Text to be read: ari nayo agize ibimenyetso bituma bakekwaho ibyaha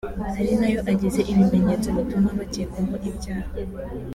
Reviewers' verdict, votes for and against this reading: accepted, 2, 1